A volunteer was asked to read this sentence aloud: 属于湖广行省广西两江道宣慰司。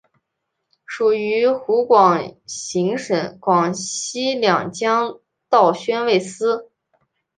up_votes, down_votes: 3, 0